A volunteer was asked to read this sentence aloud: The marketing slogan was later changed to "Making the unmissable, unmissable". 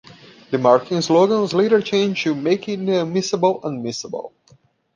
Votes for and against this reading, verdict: 1, 2, rejected